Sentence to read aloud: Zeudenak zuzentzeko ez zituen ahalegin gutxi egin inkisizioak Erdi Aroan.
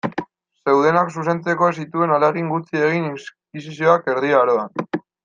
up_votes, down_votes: 0, 2